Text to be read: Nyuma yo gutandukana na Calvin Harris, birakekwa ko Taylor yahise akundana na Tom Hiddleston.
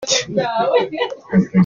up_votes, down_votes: 1, 2